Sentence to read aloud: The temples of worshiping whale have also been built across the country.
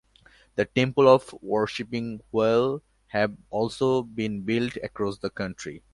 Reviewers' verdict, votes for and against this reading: rejected, 0, 2